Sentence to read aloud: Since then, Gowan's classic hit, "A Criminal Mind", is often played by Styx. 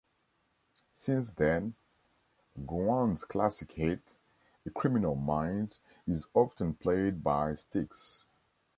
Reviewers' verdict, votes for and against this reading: accepted, 3, 0